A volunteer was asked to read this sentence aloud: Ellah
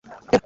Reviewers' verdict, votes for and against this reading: rejected, 1, 2